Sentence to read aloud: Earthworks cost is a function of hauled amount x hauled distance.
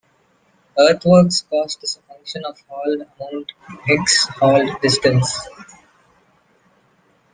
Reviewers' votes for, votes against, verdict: 1, 2, rejected